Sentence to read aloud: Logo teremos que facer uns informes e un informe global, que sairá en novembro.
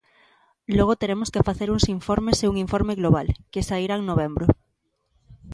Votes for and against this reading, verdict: 3, 0, accepted